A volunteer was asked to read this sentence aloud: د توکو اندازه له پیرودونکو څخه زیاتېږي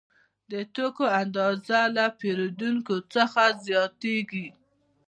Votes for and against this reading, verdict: 2, 0, accepted